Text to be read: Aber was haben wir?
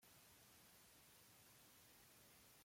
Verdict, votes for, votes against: rejected, 1, 2